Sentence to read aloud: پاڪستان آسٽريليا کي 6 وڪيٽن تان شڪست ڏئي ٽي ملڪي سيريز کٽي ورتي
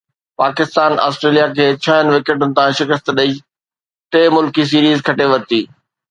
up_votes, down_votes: 0, 2